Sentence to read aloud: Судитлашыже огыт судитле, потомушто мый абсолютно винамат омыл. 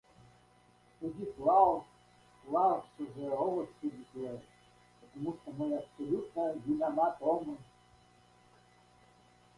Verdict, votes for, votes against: rejected, 0, 2